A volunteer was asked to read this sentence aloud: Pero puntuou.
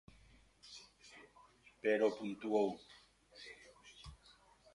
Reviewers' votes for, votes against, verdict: 2, 0, accepted